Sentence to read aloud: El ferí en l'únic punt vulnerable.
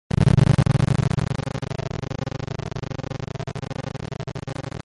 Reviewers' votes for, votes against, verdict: 0, 2, rejected